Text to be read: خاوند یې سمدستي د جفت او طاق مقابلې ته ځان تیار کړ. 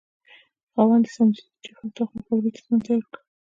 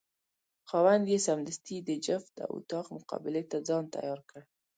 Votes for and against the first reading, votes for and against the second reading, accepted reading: 1, 2, 2, 0, second